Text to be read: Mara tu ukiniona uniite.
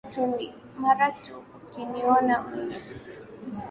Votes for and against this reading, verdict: 5, 1, accepted